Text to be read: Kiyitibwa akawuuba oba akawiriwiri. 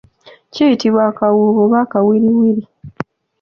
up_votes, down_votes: 0, 2